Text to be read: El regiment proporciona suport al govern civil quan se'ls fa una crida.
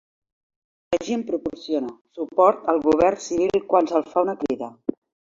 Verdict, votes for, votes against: rejected, 0, 2